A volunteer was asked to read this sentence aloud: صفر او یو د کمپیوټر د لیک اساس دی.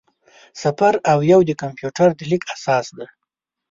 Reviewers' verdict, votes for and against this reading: rejected, 3, 4